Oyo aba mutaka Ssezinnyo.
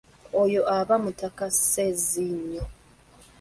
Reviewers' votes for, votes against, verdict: 1, 2, rejected